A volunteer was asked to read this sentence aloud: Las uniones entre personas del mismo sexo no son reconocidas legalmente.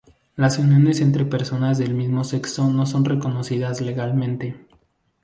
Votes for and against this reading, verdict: 0, 2, rejected